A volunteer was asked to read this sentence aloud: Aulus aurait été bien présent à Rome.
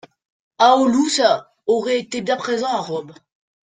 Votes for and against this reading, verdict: 1, 2, rejected